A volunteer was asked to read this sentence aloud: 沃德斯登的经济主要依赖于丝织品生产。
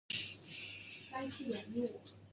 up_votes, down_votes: 0, 3